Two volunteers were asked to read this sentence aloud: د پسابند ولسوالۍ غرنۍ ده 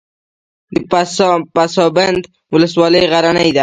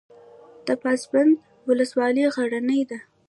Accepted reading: first